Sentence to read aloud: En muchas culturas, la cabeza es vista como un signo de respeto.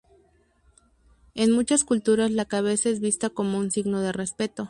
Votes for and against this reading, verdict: 2, 2, rejected